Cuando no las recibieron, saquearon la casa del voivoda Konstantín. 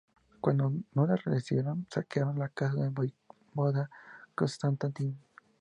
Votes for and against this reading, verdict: 0, 2, rejected